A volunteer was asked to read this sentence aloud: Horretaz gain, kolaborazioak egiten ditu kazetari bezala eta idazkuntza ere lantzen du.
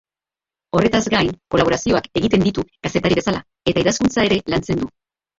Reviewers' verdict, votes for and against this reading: rejected, 1, 3